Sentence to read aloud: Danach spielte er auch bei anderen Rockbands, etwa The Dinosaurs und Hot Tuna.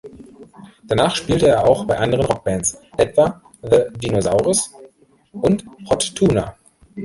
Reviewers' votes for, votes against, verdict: 0, 2, rejected